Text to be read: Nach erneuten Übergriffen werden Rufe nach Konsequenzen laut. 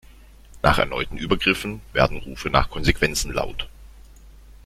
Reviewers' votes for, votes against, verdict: 2, 0, accepted